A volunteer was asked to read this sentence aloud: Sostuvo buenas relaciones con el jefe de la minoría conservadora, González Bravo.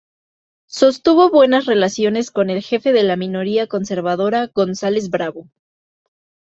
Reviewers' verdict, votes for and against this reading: rejected, 1, 2